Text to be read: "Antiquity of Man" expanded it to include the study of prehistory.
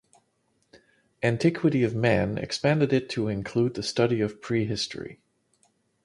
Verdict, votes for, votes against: rejected, 2, 2